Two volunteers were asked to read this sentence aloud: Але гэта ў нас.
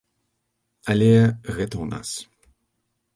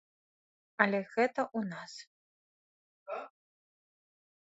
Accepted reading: first